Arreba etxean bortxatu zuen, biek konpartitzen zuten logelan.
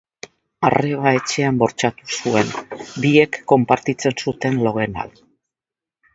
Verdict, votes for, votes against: rejected, 1, 2